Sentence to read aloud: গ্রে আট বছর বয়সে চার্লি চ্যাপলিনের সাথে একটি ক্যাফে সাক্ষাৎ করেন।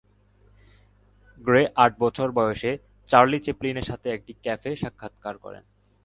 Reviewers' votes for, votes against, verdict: 3, 1, accepted